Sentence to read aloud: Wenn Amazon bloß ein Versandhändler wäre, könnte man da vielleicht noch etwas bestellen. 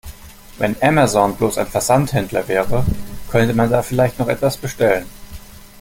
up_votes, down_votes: 2, 0